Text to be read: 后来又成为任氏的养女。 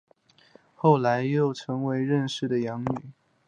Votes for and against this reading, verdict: 3, 1, accepted